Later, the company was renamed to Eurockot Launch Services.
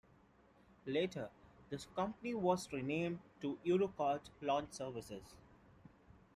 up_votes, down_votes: 1, 2